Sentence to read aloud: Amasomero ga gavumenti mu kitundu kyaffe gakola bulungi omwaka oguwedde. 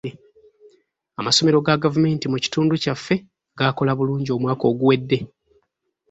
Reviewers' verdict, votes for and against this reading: rejected, 1, 2